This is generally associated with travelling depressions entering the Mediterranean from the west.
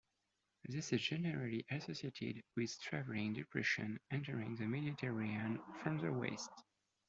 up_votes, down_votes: 0, 2